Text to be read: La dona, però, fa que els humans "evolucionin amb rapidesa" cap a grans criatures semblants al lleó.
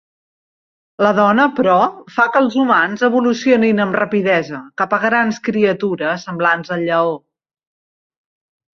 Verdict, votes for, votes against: accepted, 2, 0